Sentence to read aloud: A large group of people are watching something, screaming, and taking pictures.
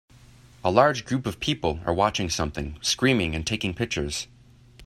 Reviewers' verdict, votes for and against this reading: accepted, 3, 0